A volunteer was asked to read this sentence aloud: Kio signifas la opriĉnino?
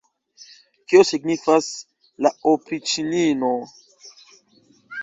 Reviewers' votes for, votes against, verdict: 0, 2, rejected